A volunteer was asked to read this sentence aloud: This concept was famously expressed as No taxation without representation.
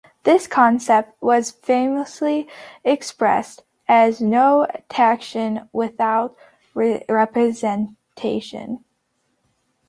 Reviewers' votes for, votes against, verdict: 0, 2, rejected